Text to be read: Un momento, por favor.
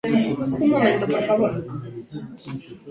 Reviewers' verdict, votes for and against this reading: rejected, 1, 2